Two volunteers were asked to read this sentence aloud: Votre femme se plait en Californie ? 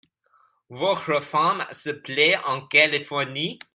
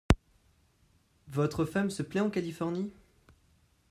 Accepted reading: second